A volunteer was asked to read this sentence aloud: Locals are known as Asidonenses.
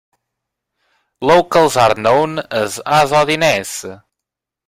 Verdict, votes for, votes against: rejected, 0, 2